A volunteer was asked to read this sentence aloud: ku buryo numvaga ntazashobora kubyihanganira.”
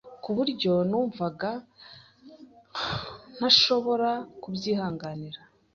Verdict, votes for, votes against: rejected, 1, 2